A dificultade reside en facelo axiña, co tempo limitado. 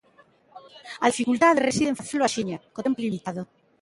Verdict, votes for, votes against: rejected, 0, 3